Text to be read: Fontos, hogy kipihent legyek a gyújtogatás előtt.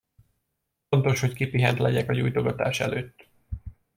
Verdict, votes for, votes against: accepted, 2, 0